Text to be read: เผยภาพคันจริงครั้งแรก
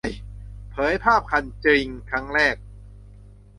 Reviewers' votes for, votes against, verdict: 2, 1, accepted